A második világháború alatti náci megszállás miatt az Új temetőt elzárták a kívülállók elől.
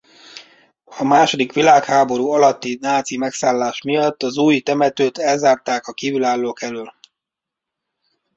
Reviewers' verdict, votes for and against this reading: accepted, 2, 0